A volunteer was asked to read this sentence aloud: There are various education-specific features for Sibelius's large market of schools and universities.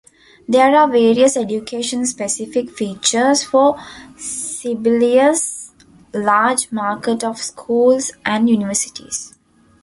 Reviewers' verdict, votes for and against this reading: rejected, 0, 2